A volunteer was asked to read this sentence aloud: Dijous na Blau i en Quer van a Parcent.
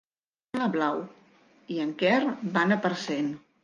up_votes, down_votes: 0, 2